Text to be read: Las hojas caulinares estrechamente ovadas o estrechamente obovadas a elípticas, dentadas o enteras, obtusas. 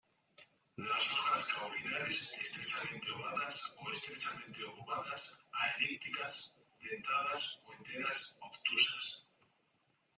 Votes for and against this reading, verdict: 2, 1, accepted